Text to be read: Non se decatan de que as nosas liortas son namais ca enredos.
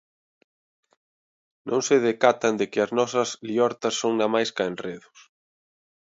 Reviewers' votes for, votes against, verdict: 2, 0, accepted